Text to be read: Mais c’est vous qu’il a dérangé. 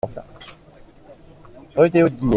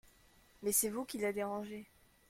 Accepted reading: second